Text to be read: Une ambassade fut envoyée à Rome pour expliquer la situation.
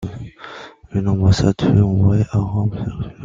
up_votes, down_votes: 0, 2